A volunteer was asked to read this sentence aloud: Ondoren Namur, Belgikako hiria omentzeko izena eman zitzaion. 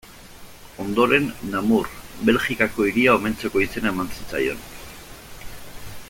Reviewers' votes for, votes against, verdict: 1, 2, rejected